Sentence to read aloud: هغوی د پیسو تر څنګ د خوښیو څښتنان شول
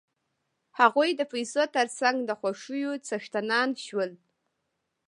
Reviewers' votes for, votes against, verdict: 1, 2, rejected